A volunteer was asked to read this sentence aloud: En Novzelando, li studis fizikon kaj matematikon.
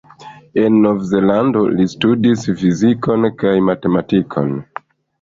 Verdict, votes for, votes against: rejected, 1, 2